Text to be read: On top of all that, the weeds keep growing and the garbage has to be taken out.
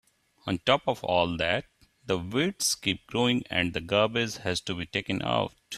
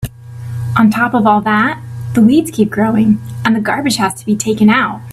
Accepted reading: second